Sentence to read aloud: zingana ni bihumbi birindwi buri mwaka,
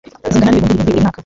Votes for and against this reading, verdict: 2, 1, accepted